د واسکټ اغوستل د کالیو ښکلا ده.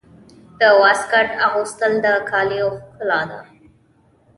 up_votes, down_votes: 2, 0